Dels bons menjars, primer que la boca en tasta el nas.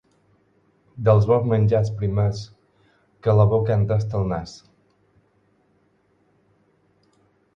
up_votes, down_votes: 0, 4